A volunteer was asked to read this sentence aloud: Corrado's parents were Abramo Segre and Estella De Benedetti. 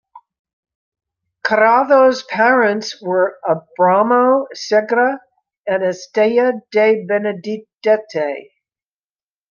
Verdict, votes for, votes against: rejected, 0, 2